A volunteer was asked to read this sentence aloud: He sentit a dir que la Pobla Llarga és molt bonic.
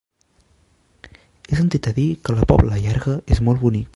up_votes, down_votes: 2, 1